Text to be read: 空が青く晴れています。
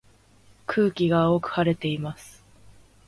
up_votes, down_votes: 0, 2